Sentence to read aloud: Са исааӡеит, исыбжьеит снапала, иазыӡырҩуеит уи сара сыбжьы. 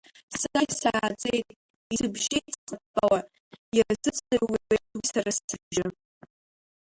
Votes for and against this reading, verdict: 1, 2, rejected